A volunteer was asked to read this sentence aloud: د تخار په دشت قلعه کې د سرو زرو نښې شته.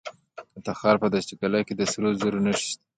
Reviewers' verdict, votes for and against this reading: rejected, 1, 2